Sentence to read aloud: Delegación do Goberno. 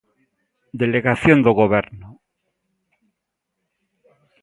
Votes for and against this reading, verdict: 2, 0, accepted